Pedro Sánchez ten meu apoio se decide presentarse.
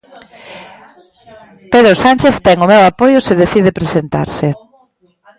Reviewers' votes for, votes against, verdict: 0, 2, rejected